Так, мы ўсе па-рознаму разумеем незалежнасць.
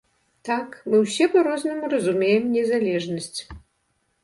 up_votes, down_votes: 2, 0